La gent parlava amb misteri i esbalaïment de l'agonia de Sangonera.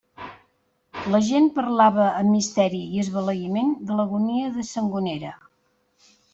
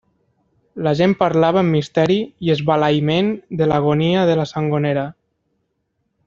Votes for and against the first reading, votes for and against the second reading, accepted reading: 2, 0, 1, 2, first